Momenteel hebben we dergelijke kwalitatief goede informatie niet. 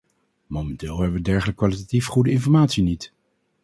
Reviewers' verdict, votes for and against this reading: rejected, 0, 2